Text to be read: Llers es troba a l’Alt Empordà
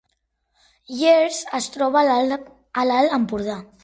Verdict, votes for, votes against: rejected, 1, 3